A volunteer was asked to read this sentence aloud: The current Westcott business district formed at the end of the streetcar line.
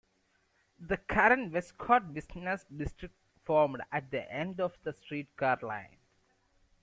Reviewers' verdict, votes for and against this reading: rejected, 1, 2